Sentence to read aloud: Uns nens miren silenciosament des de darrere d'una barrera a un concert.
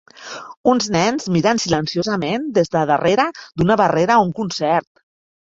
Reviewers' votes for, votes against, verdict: 1, 2, rejected